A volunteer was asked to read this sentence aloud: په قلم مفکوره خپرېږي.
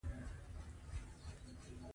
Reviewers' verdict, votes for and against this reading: rejected, 0, 2